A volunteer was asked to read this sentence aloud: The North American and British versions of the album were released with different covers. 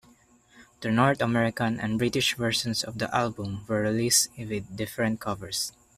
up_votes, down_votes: 2, 1